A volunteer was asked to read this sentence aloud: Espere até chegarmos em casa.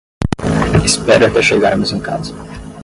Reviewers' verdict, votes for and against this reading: rejected, 5, 10